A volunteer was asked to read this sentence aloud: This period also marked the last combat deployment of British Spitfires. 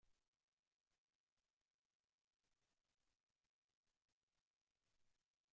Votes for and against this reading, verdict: 0, 2, rejected